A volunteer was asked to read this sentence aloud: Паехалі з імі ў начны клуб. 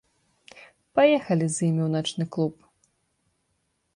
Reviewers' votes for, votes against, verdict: 2, 0, accepted